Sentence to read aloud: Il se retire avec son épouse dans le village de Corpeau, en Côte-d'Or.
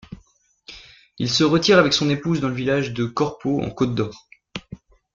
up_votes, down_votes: 2, 0